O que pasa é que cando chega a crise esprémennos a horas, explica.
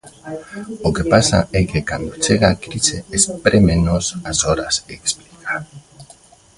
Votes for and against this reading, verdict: 0, 2, rejected